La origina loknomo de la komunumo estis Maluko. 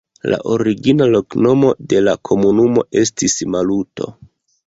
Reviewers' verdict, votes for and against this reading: rejected, 1, 2